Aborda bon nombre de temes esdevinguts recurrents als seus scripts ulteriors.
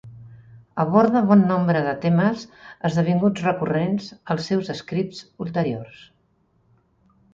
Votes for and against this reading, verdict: 3, 0, accepted